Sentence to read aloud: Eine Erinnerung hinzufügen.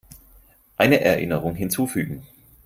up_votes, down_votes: 4, 0